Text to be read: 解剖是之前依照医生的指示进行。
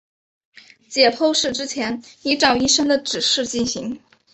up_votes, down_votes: 4, 0